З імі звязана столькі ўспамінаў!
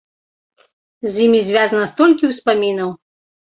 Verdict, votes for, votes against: accepted, 3, 0